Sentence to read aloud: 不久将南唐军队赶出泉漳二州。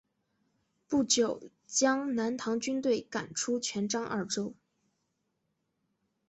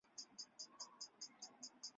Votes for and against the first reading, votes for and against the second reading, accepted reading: 2, 1, 0, 2, first